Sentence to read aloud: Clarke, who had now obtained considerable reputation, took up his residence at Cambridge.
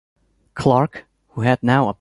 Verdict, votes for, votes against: rejected, 1, 3